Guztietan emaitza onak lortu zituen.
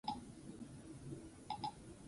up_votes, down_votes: 0, 6